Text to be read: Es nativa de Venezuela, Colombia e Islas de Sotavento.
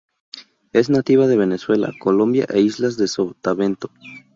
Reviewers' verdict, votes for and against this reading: accepted, 4, 0